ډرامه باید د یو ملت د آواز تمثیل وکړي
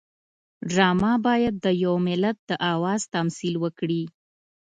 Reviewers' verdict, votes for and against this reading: accepted, 2, 0